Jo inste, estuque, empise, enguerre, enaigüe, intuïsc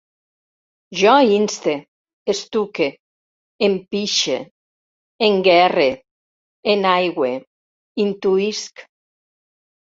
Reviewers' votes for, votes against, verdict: 0, 2, rejected